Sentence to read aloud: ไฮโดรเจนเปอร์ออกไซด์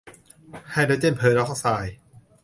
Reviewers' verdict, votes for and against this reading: accepted, 2, 0